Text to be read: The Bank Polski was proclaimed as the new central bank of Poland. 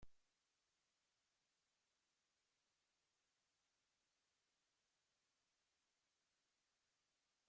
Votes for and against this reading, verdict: 0, 3, rejected